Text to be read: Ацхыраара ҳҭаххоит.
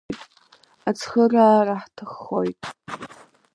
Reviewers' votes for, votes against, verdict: 1, 2, rejected